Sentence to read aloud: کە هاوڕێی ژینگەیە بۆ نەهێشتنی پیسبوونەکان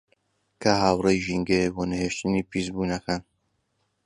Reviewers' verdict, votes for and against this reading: accepted, 2, 0